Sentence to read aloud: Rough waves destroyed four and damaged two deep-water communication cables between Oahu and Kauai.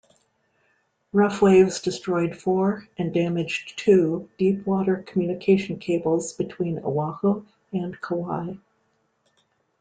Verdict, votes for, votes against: accepted, 2, 0